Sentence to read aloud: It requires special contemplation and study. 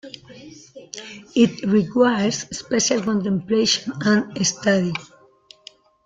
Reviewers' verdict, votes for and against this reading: accepted, 2, 0